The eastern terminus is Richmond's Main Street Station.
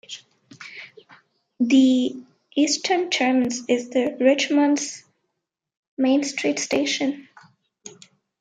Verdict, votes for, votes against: rejected, 0, 2